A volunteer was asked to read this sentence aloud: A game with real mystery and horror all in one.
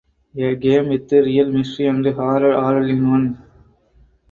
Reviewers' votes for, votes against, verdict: 2, 4, rejected